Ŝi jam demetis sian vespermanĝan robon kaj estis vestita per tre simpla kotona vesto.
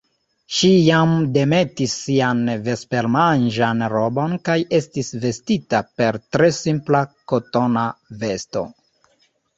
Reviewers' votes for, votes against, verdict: 1, 2, rejected